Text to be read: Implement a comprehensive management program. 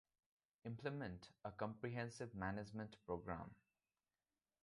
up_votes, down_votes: 2, 0